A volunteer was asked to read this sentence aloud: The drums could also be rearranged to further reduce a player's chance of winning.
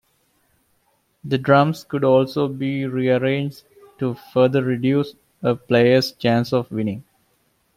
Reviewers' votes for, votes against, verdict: 2, 0, accepted